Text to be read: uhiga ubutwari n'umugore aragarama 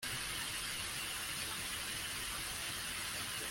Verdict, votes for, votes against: rejected, 0, 2